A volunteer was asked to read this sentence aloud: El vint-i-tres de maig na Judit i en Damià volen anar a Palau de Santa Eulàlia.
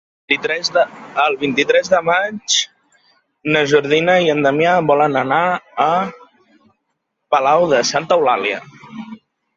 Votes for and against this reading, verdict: 1, 2, rejected